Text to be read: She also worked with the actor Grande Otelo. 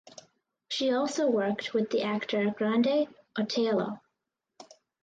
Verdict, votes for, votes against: accepted, 2, 0